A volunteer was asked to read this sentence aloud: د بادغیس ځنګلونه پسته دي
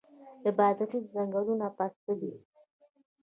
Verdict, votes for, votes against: rejected, 1, 2